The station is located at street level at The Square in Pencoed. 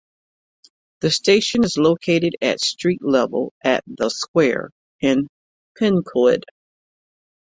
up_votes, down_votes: 2, 1